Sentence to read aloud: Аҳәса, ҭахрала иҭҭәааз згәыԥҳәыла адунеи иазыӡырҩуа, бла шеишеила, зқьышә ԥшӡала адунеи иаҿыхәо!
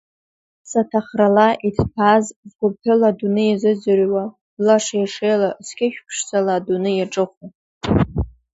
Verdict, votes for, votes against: rejected, 0, 2